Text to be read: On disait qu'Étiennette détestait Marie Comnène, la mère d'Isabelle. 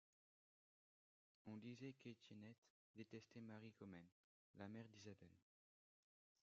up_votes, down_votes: 1, 2